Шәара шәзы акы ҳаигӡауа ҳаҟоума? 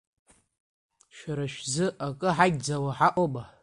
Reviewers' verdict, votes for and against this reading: accepted, 2, 0